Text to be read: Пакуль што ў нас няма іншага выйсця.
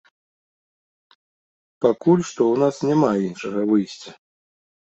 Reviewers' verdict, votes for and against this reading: accepted, 3, 0